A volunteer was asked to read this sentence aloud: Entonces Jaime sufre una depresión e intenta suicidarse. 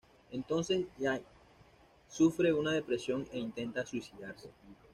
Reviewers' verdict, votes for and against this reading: rejected, 1, 2